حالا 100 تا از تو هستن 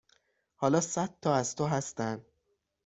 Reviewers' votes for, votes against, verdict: 0, 2, rejected